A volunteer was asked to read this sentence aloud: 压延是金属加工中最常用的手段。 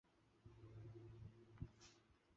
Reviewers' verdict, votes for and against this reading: rejected, 0, 2